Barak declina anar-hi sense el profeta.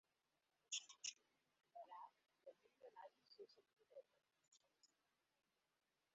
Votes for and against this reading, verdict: 0, 2, rejected